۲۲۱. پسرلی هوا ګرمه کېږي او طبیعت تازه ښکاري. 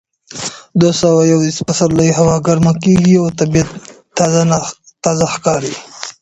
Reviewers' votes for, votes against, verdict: 0, 2, rejected